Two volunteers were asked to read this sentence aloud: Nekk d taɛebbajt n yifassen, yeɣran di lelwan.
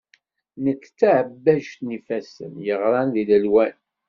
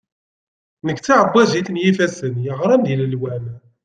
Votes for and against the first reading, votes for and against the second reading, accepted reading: 2, 0, 1, 2, first